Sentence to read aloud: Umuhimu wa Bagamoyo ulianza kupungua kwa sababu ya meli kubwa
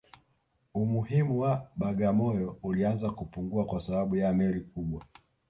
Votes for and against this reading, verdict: 1, 2, rejected